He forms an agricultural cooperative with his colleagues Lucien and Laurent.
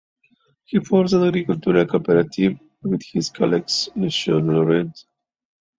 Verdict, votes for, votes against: rejected, 0, 2